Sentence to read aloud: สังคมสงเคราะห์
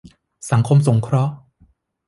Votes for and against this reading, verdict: 2, 0, accepted